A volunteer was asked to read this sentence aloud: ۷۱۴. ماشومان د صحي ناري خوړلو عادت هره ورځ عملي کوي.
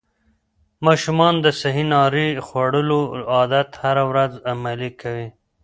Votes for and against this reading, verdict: 0, 2, rejected